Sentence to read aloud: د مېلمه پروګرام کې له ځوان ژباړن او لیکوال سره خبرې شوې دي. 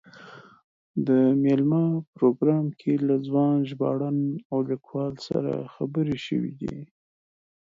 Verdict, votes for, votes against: accepted, 2, 0